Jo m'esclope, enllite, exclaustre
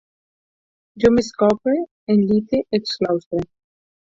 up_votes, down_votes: 0, 4